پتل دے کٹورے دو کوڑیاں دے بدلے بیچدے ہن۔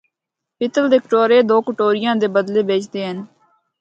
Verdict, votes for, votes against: rejected, 0, 2